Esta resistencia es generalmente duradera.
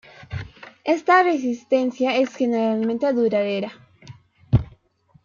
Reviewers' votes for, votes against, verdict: 2, 0, accepted